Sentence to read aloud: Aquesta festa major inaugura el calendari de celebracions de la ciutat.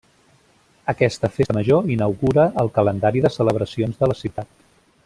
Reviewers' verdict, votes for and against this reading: rejected, 0, 2